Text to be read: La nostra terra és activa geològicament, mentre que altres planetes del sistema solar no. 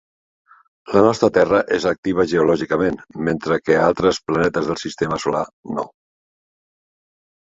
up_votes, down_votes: 3, 0